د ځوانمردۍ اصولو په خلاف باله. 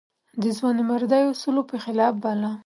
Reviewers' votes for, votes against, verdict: 2, 0, accepted